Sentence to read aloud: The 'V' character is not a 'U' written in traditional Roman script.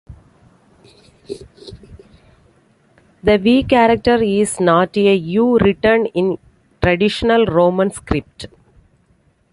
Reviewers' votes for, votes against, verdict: 2, 0, accepted